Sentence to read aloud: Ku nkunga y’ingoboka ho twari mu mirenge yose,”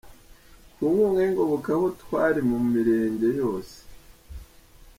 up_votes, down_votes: 1, 2